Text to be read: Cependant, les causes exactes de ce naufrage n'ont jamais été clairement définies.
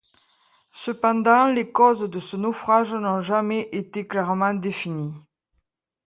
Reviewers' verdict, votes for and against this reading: rejected, 1, 2